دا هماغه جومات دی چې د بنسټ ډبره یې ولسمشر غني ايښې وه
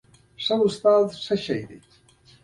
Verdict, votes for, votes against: rejected, 1, 2